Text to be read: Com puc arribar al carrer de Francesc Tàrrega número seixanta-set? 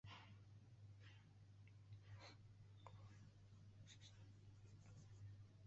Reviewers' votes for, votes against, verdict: 0, 2, rejected